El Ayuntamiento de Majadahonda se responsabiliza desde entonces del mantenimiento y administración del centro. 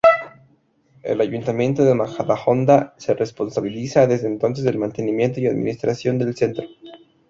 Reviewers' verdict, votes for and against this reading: rejected, 0, 2